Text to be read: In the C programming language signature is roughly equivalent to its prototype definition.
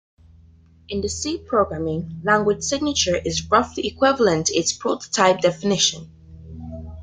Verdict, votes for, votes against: rejected, 1, 2